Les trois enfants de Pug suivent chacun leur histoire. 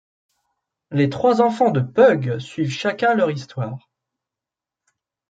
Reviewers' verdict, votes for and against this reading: accepted, 2, 0